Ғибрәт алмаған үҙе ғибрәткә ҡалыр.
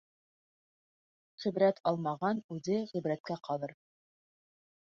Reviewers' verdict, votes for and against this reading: accepted, 3, 0